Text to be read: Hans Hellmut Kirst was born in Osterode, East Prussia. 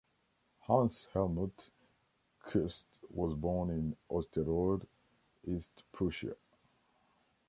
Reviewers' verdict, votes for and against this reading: rejected, 1, 2